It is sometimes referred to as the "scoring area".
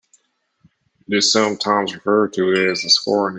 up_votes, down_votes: 0, 2